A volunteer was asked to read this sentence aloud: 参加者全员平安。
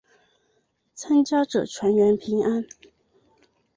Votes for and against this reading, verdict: 2, 0, accepted